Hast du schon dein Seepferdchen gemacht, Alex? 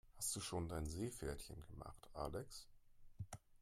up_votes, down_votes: 2, 1